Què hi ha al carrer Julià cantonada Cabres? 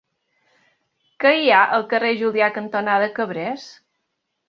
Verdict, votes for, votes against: rejected, 2, 3